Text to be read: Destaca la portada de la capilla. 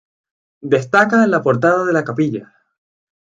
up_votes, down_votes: 4, 0